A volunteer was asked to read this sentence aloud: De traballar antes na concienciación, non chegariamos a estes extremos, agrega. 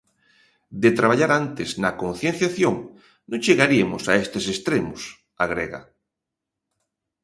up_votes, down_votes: 0, 2